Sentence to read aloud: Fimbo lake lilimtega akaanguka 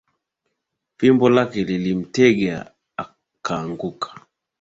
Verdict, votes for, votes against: accepted, 9, 2